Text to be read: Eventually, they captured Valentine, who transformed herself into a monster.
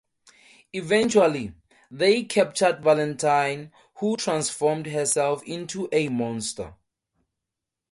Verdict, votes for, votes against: accepted, 2, 0